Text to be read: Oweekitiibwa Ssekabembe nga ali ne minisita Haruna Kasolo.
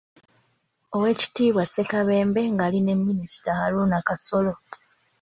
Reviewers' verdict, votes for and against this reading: accepted, 2, 0